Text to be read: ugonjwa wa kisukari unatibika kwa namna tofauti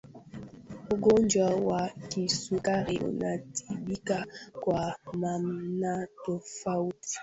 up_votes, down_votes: 2, 1